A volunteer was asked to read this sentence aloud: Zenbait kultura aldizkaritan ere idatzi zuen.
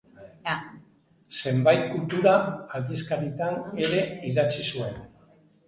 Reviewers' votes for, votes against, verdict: 2, 0, accepted